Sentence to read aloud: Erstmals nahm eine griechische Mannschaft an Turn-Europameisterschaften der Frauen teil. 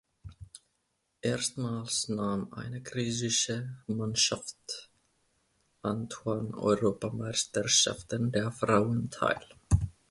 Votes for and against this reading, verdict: 0, 2, rejected